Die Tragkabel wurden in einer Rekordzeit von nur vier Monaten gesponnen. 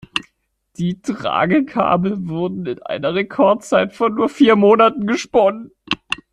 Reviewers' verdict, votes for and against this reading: accepted, 2, 0